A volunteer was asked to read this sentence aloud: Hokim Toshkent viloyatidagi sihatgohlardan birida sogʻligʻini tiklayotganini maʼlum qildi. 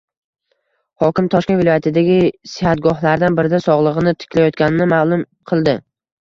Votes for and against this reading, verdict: 1, 2, rejected